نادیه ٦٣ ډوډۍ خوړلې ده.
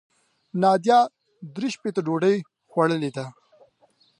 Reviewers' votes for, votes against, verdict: 0, 2, rejected